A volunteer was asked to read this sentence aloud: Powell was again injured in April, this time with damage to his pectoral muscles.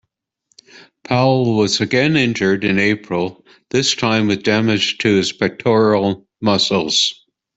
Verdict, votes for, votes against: accepted, 2, 0